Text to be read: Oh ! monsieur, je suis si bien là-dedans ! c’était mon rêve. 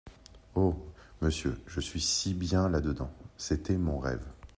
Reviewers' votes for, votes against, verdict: 3, 0, accepted